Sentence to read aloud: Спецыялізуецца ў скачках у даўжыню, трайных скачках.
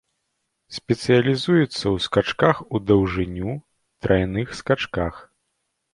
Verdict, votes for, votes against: accepted, 2, 0